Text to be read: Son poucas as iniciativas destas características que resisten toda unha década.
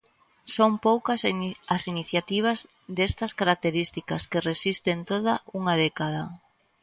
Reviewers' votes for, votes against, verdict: 0, 2, rejected